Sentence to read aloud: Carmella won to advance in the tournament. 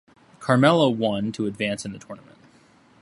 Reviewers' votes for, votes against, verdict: 2, 0, accepted